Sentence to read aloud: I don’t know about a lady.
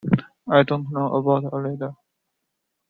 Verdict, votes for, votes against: accepted, 2, 0